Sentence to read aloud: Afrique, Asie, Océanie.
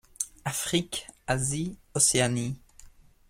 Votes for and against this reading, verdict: 2, 0, accepted